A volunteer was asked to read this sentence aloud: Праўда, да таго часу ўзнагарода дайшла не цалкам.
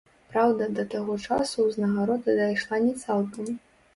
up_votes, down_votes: 1, 2